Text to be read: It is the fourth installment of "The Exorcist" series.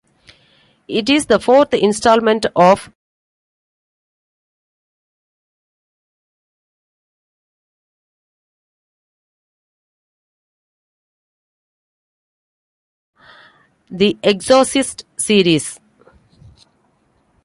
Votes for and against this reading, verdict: 0, 2, rejected